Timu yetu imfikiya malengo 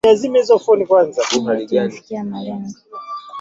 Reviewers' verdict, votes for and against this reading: rejected, 1, 2